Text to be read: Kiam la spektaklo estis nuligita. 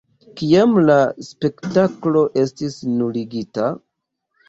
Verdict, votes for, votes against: accepted, 2, 1